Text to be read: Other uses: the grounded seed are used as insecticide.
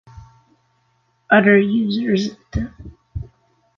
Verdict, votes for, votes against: rejected, 0, 3